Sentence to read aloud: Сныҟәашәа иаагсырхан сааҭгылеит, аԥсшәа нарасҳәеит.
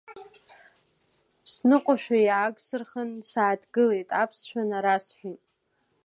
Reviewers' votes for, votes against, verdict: 2, 1, accepted